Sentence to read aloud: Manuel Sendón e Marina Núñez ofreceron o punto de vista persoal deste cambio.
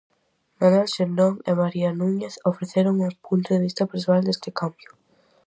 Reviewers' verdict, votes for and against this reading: rejected, 2, 2